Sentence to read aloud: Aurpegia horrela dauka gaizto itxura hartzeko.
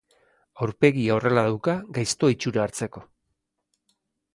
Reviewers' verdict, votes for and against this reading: accepted, 2, 0